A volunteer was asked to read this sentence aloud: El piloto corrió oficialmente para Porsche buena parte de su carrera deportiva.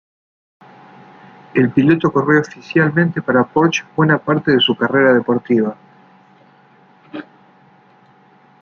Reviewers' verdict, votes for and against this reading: accepted, 2, 0